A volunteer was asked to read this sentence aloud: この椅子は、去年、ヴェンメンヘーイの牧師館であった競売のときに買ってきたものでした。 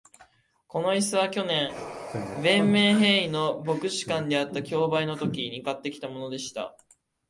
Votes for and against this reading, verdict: 2, 1, accepted